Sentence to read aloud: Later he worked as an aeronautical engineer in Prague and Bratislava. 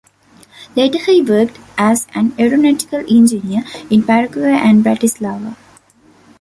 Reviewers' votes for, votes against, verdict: 1, 2, rejected